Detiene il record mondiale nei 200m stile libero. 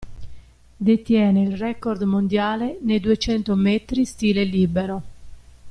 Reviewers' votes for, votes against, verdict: 0, 2, rejected